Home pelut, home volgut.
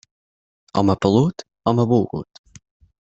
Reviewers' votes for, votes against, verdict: 6, 0, accepted